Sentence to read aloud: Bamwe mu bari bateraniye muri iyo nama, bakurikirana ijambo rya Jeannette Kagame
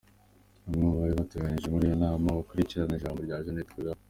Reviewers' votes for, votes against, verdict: 2, 0, accepted